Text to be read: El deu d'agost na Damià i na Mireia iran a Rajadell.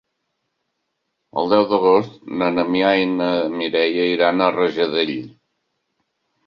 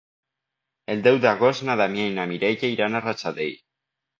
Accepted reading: second